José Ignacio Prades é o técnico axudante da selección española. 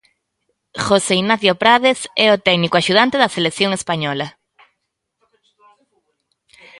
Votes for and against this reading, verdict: 0, 2, rejected